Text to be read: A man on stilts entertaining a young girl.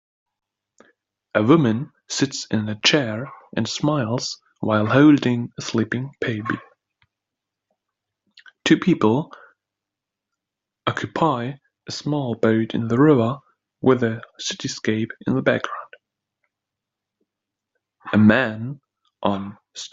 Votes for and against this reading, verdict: 0, 2, rejected